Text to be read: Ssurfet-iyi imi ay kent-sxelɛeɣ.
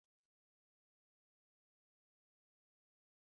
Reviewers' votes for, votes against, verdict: 0, 2, rejected